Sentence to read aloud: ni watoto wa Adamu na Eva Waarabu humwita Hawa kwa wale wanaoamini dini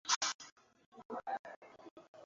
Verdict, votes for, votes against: rejected, 0, 2